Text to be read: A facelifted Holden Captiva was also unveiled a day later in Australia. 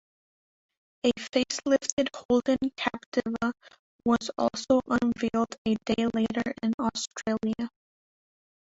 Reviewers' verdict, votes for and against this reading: rejected, 1, 2